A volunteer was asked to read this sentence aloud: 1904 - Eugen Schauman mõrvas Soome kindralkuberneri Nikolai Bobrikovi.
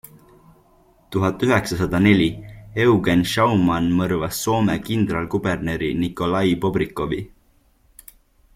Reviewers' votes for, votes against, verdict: 0, 2, rejected